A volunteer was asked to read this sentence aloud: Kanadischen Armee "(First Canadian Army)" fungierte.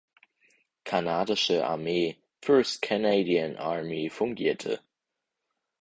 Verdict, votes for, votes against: rejected, 0, 4